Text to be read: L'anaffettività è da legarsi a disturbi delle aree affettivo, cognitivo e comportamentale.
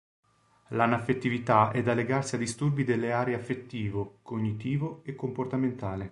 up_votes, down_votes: 2, 0